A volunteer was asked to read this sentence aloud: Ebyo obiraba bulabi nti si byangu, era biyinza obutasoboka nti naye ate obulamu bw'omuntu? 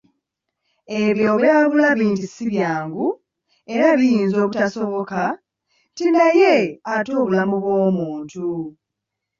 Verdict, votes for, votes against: rejected, 0, 2